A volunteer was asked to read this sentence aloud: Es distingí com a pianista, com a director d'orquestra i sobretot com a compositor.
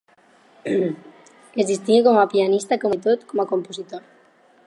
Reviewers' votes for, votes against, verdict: 0, 4, rejected